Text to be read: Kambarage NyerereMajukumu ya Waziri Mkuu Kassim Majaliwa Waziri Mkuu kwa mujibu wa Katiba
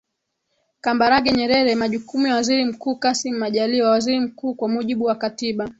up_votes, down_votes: 0, 2